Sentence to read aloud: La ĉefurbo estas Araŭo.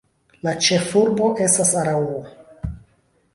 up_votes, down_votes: 2, 0